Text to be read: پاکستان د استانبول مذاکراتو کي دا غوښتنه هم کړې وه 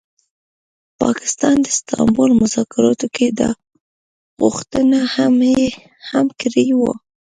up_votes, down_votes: 0, 2